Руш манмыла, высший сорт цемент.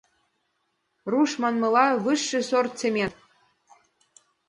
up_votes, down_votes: 2, 0